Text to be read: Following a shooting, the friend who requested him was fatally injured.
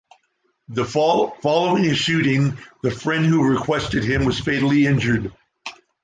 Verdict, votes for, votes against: rejected, 1, 2